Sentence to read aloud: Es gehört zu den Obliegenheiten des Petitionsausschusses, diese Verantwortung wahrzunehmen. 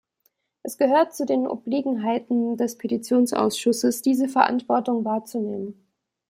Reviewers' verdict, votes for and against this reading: accepted, 2, 0